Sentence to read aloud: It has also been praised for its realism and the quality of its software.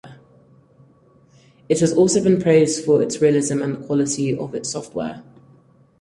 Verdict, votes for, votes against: accepted, 4, 0